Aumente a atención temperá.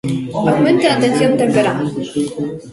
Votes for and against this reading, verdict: 0, 2, rejected